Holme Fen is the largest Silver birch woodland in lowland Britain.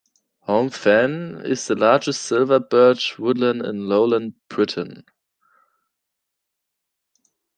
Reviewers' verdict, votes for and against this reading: accepted, 2, 0